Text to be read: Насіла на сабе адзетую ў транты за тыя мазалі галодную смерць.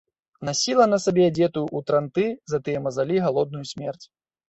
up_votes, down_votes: 2, 0